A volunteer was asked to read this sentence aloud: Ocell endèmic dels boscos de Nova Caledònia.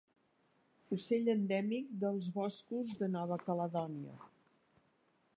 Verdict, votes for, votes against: accepted, 2, 0